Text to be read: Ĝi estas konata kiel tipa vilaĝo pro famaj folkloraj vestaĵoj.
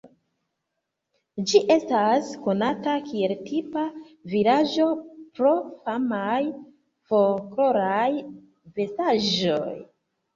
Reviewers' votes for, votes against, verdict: 0, 2, rejected